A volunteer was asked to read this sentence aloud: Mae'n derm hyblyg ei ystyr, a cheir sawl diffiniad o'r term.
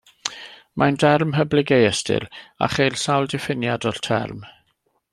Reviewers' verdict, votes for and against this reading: accepted, 2, 0